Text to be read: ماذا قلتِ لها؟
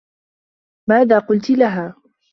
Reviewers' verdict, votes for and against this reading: accepted, 2, 0